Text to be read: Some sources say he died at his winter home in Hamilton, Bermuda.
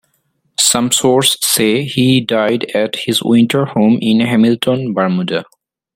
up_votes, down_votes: 0, 2